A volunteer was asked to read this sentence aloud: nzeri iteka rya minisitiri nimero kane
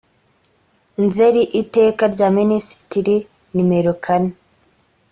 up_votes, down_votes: 2, 0